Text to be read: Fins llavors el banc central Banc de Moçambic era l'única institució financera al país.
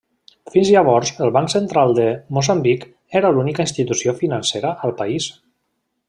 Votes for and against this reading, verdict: 0, 2, rejected